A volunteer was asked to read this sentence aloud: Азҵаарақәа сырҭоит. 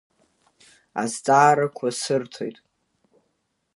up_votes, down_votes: 2, 0